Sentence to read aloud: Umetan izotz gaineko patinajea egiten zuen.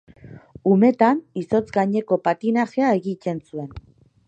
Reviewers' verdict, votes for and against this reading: rejected, 1, 3